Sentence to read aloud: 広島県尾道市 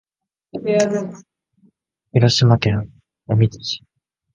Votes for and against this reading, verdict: 1, 2, rejected